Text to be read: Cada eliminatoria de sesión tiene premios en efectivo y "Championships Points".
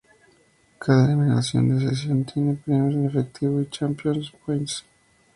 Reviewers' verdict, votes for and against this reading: rejected, 0, 2